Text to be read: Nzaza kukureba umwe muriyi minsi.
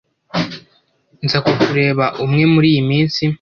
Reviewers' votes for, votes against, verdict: 0, 2, rejected